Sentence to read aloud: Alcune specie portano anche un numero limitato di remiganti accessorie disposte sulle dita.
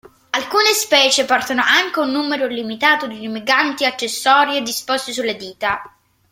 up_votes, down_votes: 1, 2